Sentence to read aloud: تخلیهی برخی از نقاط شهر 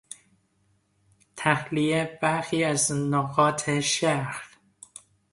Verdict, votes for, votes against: accepted, 2, 0